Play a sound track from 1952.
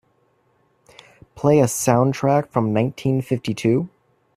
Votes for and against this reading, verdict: 0, 2, rejected